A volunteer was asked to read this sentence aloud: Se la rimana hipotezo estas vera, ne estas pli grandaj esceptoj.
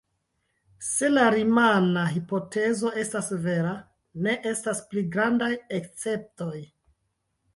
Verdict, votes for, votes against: rejected, 1, 2